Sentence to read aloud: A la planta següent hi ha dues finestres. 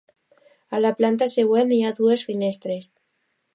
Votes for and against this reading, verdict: 2, 0, accepted